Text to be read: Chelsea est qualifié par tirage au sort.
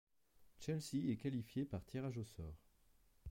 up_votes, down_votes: 0, 2